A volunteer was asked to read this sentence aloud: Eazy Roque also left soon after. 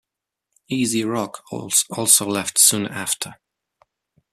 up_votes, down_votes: 0, 2